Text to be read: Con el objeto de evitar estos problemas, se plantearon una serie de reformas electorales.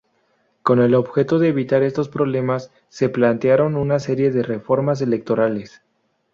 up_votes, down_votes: 2, 2